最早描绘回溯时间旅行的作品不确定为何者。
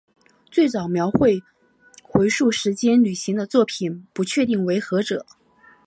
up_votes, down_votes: 2, 0